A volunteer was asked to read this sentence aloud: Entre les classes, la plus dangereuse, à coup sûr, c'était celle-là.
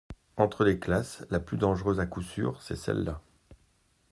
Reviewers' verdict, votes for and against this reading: rejected, 1, 2